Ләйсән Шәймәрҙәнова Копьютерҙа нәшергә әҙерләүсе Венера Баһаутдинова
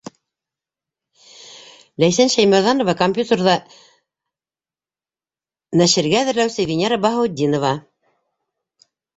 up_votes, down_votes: 2, 0